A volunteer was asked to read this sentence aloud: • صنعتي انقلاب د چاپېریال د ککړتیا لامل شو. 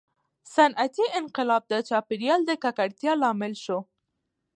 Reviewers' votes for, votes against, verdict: 2, 0, accepted